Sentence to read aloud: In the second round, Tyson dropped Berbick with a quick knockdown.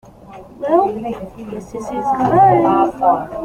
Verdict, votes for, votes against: rejected, 0, 2